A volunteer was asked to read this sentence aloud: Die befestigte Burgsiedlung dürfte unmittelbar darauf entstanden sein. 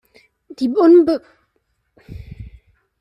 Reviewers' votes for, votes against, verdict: 0, 2, rejected